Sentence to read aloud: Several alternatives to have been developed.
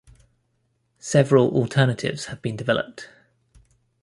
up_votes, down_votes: 1, 2